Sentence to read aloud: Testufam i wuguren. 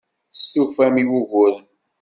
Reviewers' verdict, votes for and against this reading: accepted, 2, 1